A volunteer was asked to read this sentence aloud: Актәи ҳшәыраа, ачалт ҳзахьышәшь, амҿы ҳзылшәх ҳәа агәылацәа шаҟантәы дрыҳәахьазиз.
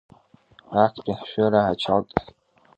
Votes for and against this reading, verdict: 0, 2, rejected